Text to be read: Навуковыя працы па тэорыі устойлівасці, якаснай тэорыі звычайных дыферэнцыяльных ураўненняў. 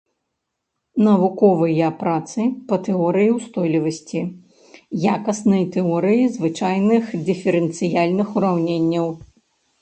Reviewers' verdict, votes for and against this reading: rejected, 1, 2